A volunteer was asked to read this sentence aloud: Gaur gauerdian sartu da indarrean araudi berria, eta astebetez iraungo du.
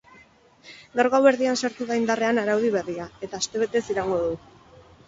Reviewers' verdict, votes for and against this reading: accepted, 4, 0